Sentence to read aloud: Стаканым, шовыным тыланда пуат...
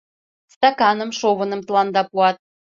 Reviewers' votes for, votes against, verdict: 2, 0, accepted